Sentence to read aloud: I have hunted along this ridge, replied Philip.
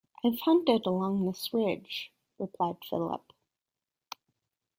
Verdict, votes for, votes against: rejected, 1, 2